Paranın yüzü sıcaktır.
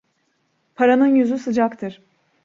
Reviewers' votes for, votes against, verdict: 2, 0, accepted